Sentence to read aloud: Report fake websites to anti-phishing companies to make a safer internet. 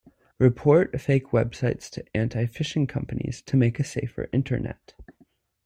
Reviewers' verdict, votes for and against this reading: accepted, 2, 0